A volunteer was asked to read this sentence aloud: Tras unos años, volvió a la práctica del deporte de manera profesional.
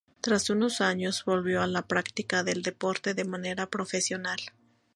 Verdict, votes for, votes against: accepted, 2, 0